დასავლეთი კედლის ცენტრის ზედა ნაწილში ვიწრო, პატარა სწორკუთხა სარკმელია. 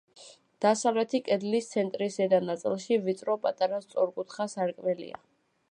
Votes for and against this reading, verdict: 2, 0, accepted